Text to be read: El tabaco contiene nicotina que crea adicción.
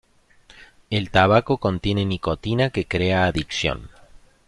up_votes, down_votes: 2, 0